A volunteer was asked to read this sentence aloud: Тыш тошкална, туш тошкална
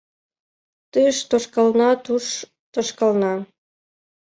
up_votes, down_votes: 2, 0